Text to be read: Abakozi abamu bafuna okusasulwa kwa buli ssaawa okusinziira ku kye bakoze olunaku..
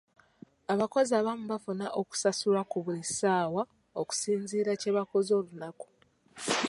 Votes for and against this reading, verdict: 1, 2, rejected